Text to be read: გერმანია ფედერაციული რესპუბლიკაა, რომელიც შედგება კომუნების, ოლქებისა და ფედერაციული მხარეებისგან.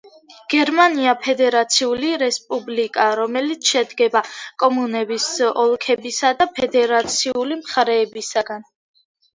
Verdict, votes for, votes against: accepted, 2, 1